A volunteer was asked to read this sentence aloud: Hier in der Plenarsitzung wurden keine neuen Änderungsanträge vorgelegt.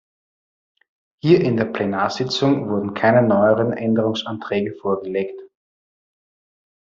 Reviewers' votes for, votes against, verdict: 2, 0, accepted